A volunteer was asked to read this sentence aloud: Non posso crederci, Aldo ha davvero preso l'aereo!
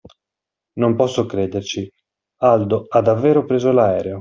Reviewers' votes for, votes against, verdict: 2, 0, accepted